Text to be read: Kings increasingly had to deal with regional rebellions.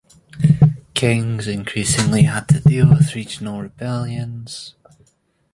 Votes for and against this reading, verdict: 3, 1, accepted